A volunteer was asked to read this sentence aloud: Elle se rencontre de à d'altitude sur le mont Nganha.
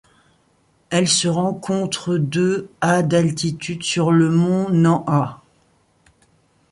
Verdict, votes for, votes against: rejected, 0, 2